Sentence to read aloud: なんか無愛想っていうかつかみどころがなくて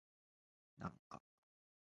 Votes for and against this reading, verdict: 1, 2, rejected